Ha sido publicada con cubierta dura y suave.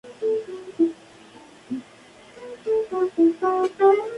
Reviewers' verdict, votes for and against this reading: rejected, 0, 4